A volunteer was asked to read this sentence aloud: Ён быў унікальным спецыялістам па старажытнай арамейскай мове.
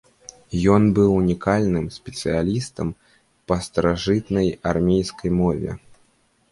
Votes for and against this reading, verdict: 0, 2, rejected